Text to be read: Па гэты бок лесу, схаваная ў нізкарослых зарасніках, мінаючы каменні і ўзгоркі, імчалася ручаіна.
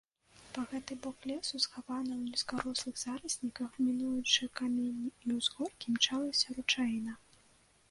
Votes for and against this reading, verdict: 2, 1, accepted